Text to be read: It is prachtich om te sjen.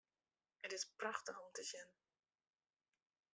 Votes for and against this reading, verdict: 2, 0, accepted